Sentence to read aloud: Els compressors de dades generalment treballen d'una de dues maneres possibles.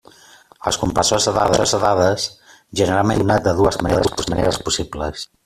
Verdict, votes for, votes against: rejected, 0, 2